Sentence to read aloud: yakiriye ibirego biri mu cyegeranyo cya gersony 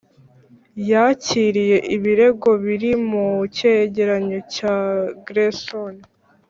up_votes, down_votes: 3, 0